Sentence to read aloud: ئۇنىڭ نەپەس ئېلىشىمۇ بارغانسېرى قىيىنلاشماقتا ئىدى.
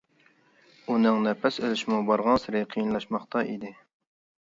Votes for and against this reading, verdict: 2, 0, accepted